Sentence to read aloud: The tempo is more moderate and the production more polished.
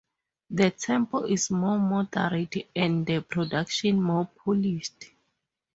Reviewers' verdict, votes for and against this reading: rejected, 2, 2